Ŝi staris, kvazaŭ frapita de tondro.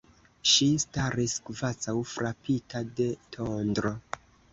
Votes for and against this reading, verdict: 0, 2, rejected